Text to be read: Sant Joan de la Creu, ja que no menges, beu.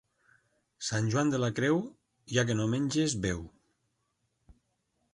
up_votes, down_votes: 2, 0